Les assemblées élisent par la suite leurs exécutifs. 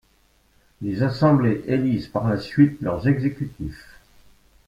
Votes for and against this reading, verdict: 2, 1, accepted